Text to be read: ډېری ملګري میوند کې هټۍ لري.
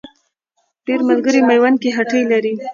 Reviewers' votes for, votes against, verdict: 0, 2, rejected